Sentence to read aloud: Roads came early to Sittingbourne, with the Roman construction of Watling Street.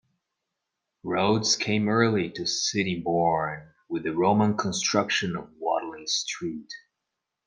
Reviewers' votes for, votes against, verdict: 2, 0, accepted